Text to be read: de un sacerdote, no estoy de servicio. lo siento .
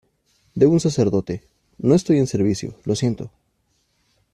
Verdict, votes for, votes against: rejected, 0, 2